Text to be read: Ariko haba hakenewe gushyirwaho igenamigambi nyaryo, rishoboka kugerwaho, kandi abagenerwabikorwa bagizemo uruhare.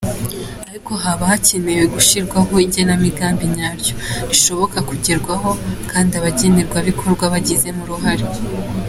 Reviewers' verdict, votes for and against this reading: accepted, 2, 0